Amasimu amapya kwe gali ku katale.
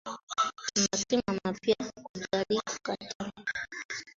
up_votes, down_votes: 0, 2